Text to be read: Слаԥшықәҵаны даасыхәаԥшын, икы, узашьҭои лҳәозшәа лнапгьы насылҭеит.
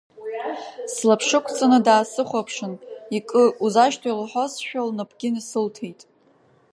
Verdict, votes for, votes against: accepted, 2, 1